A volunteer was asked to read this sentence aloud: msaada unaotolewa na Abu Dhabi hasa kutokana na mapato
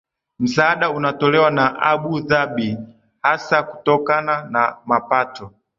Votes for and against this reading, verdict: 11, 1, accepted